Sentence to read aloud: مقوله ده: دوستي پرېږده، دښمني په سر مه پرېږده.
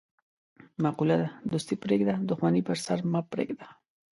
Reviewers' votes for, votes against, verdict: 2, 0, accepted